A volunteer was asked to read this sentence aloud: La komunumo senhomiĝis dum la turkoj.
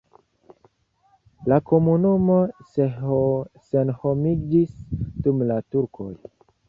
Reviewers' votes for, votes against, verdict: 2, 1, accepted